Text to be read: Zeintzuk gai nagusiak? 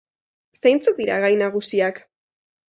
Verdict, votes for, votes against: accepted, 2, 0